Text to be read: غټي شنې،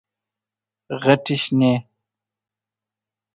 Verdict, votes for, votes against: accepted, 2, 0